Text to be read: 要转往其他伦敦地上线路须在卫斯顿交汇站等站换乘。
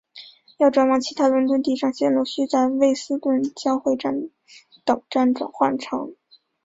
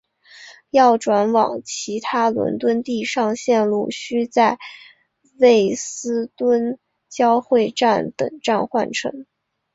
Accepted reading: second